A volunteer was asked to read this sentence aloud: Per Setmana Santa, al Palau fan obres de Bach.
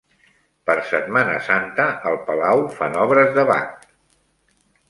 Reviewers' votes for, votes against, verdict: 2, 0, accepted